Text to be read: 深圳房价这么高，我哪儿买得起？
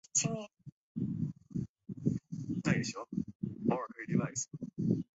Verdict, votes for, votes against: rejected, 0, 2